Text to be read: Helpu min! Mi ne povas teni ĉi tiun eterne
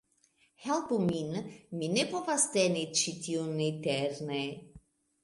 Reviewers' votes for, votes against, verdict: 1, 2, rejected